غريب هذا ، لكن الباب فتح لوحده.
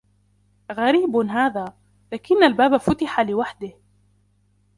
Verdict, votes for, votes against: accepted, 2, 1